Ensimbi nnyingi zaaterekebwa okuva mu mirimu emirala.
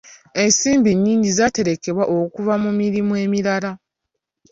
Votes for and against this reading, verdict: 2, 1, accepted